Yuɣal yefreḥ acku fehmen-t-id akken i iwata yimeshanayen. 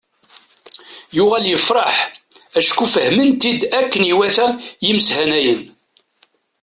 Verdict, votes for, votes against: accepted, 2, 0